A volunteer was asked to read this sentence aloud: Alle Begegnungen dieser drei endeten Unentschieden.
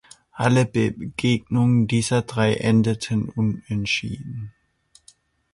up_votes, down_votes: 2, 1